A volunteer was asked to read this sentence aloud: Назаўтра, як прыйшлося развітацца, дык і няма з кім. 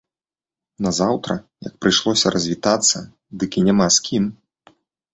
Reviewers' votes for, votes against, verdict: 2, 0, accepted